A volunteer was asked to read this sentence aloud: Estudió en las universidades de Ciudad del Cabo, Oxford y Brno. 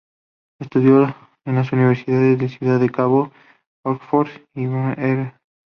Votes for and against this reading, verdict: 0, 2, rejected